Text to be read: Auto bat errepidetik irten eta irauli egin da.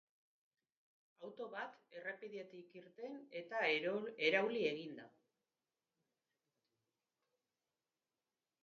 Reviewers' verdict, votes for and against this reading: rejected, 0, 4